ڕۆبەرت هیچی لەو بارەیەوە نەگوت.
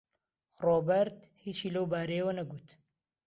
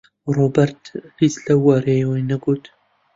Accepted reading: first